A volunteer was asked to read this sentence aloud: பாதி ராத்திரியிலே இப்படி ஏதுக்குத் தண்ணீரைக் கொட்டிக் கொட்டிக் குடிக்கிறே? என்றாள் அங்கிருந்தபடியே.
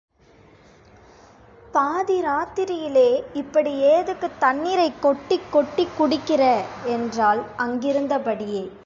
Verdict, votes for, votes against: rejected, 1, 2